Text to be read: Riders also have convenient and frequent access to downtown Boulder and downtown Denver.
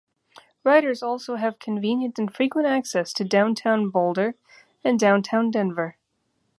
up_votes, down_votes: 2, 0